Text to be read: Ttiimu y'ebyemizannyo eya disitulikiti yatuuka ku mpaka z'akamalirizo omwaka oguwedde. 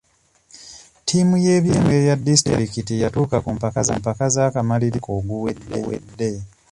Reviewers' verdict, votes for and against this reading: rejected, 0, 2